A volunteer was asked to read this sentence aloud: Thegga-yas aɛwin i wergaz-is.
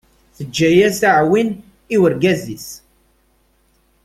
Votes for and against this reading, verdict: 1, 2, rejected